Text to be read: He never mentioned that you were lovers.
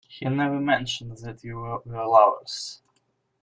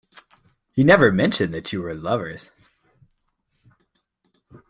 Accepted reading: second